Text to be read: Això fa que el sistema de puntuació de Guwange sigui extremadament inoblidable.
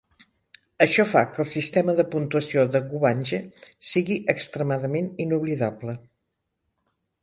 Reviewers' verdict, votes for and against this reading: accepted, 2, 1